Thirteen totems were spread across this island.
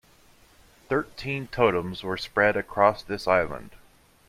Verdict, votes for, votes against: accepted, 2, 0